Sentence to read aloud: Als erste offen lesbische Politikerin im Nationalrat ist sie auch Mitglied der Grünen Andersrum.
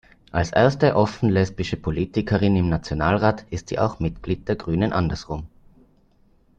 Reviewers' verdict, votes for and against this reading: accepted, 2, 0